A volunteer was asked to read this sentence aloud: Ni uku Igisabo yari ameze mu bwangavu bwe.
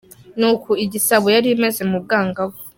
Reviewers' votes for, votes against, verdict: 0, 2, rejected